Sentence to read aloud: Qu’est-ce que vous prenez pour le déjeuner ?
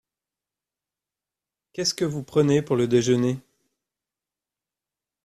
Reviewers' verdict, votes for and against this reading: accepted, 2, 0